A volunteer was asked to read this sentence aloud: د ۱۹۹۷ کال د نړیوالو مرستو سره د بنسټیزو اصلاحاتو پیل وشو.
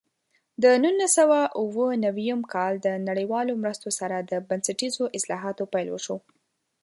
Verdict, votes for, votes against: rejected, 0, 2